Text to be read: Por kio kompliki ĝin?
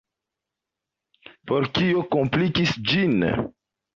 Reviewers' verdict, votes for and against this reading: rejected, 0, 2